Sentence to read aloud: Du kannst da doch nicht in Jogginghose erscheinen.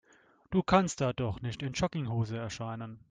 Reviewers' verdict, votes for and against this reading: accepted, 2, 0